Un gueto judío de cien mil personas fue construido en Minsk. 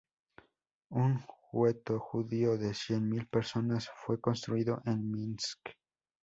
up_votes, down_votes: 0, 2